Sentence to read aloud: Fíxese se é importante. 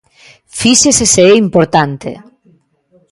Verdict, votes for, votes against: rejected, 1, 2